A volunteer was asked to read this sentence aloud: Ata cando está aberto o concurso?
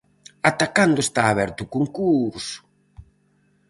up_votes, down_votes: 2, 2